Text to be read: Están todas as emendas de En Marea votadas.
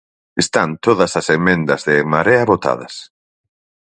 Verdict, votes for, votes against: accepted, 4, 0